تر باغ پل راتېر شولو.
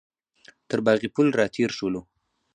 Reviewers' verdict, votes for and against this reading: accepted, 4, 0